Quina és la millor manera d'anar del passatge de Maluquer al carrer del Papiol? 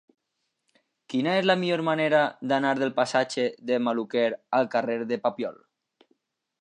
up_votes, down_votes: 0, 2